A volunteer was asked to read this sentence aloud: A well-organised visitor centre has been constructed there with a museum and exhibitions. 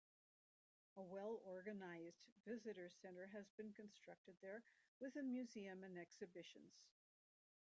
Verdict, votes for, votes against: rejected, 0, 3